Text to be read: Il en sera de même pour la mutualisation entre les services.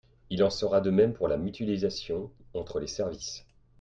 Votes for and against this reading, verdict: 2, 0, accepted